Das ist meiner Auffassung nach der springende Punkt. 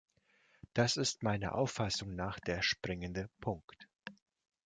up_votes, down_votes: 2, 0